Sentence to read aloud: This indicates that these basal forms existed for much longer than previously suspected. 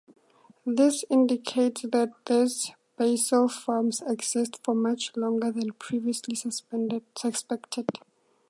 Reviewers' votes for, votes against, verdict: 0, 2, rejected